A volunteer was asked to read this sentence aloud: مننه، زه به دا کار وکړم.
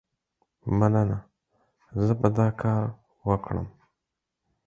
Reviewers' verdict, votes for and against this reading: accepted, 4, 0